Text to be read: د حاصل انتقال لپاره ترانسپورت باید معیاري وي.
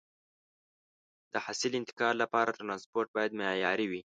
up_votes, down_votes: 2, 0